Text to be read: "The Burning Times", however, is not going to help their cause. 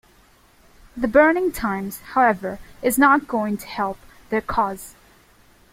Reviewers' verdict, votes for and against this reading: accepted, 2, 0